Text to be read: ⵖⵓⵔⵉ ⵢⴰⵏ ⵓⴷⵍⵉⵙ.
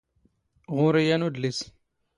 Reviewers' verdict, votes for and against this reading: rejected, 1, 2